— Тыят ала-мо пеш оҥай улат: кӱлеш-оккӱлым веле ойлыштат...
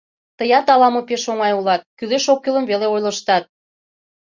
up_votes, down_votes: 2, 0